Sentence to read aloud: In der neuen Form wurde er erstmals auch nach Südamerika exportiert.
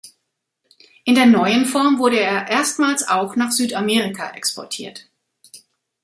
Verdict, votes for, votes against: accepted, 2, 0